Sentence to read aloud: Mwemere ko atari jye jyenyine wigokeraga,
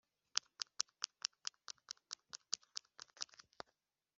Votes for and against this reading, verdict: 0, 2, rejected